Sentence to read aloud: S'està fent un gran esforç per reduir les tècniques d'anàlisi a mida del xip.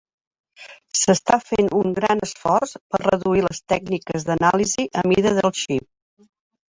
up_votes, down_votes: 2, 1